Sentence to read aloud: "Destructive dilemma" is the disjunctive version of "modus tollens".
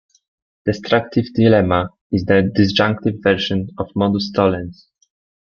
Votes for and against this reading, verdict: 0, 2, rejected